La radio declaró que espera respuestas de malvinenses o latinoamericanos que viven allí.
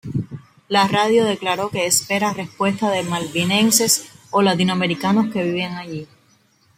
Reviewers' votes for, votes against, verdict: 2, 0, accepted